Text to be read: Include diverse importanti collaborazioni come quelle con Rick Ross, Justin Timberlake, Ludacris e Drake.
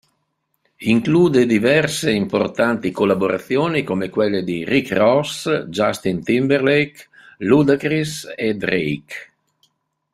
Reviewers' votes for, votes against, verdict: 0, 2, rejected